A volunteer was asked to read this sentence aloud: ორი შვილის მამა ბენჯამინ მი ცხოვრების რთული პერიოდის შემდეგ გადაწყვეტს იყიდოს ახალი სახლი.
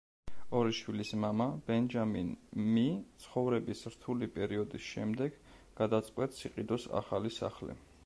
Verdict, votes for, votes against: accepted, 2, 0